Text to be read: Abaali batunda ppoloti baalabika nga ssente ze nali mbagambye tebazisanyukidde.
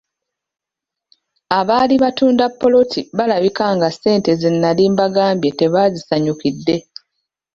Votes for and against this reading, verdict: 2, 1, accepted